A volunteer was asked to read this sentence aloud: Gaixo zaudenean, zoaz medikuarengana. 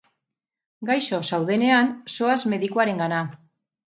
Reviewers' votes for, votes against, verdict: 2, 2, rejected